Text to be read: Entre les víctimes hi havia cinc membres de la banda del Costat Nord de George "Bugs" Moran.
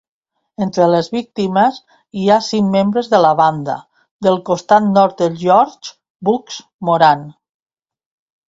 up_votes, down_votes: 1, 2